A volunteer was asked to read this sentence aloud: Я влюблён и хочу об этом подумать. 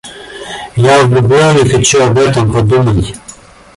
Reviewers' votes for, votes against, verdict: 2, 1, accepted